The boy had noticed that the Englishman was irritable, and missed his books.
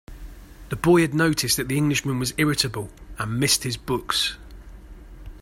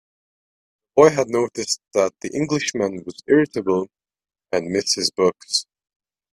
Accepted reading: first